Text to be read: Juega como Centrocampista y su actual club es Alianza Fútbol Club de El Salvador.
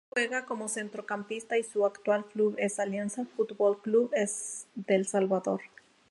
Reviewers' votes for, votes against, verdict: 0, 2, rejected